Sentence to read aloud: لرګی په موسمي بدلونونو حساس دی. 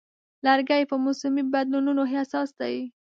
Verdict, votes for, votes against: accepted, 2, 0